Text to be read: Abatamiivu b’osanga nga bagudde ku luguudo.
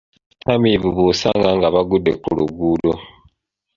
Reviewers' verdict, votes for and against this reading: accepted, 2, 0